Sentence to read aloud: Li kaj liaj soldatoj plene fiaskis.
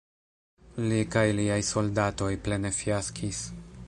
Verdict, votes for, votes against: accepted, 2, 0